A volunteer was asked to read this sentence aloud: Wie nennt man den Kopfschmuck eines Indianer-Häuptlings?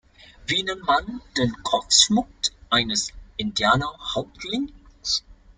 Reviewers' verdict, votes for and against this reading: rejected, 1, 2